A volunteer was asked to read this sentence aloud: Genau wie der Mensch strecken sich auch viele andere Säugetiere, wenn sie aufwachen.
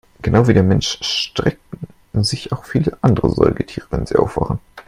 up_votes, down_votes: 1, 2